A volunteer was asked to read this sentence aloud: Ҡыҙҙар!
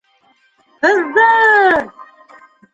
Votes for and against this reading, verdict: 1, 2, rejected